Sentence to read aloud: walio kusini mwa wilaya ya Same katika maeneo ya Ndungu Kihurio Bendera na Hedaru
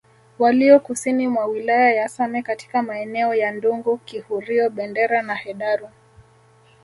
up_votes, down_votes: 2, 0